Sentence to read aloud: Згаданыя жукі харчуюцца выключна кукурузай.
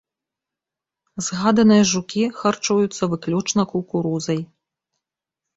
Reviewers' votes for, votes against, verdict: 2, 1, accepted